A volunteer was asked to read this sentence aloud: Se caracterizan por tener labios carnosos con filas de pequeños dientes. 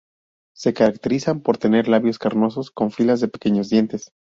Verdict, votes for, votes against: rejected, 0, 2